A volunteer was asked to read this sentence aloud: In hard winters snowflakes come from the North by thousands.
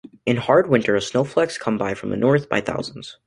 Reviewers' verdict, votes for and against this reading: accepted, 2, 1